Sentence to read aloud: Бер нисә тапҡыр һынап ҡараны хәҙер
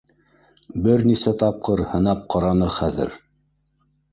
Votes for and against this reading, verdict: 0, 2, rejected